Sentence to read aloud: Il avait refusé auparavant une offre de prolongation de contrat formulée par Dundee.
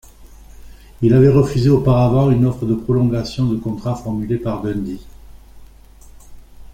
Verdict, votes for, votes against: accepted, 2, 1